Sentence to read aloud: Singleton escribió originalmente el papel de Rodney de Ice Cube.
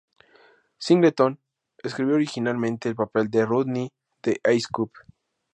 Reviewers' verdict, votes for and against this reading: accepted, 2, 0